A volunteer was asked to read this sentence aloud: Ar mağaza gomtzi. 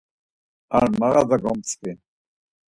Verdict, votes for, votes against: accepted, 4, 0